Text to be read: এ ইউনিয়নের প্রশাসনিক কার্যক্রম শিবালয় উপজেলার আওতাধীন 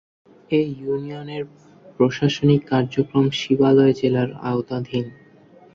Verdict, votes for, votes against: rejected, 0, 2